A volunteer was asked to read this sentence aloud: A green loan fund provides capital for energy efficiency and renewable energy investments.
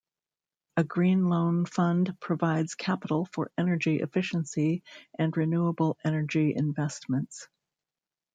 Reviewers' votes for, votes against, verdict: 1, 2, rejected